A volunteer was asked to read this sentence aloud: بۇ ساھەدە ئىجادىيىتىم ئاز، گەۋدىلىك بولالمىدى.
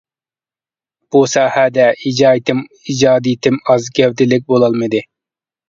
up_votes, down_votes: 1, 2